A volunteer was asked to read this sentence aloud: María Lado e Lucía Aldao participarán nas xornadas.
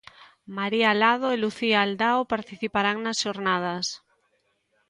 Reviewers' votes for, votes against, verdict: 2, 0, accepted